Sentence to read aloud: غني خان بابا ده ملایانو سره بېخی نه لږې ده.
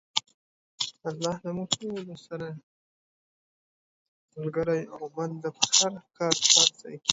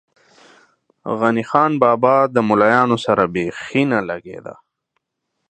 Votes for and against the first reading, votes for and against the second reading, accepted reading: 0, 2, 2, 0, second